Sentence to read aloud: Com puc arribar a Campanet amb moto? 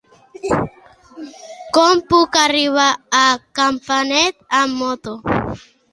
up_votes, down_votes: 2, 0